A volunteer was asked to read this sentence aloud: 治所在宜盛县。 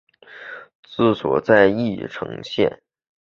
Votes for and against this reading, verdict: 4, 0, accepted